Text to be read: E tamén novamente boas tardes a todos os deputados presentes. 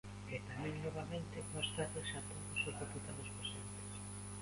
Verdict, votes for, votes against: rejected, 0, 2